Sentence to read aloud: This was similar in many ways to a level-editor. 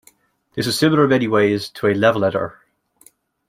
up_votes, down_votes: 1, 2